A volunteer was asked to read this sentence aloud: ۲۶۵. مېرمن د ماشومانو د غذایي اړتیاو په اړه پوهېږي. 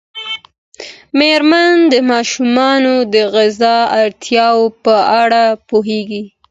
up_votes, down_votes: 0, 2